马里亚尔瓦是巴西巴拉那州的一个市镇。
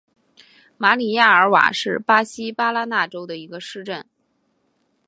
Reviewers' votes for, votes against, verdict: 3, 0, accepted